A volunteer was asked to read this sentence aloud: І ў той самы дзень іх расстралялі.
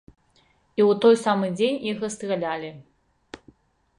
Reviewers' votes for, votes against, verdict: 2, 0, accepted